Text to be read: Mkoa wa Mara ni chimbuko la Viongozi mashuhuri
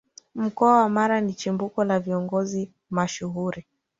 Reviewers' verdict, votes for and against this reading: accepted, 4, 2